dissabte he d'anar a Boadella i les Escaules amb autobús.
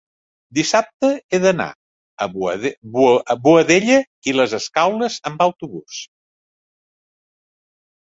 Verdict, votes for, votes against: rejected, 0, 2